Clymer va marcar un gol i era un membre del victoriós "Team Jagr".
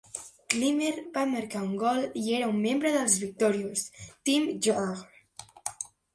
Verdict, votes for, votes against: rejected, 2, 3